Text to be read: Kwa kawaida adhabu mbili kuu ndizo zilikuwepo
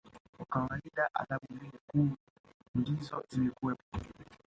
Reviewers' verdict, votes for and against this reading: rejected, 0, 2